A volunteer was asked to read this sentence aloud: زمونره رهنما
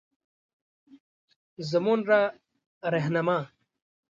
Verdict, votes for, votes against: accepted, 2, 0